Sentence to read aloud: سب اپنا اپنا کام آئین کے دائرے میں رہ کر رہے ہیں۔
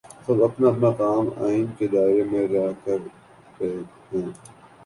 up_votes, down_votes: 5, 2